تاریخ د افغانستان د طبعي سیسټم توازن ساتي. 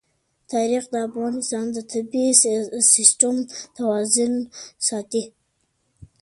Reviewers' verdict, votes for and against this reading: accepted, 2, 0